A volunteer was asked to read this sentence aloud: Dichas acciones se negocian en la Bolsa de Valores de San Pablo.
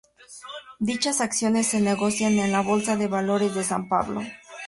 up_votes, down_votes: 4, 0